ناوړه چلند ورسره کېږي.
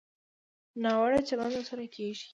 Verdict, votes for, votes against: accepted, 2, 0